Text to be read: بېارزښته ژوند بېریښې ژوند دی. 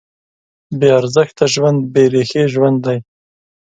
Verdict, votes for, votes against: accepted, 2, 0